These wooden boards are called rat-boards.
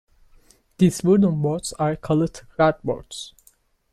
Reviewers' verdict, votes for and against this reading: accepted, 3, 1